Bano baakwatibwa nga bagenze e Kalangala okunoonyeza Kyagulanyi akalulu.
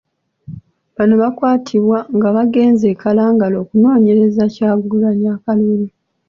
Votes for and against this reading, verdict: 2, 0, accepted